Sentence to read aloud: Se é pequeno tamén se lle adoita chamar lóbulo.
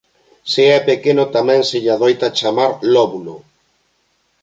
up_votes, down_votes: 2, 0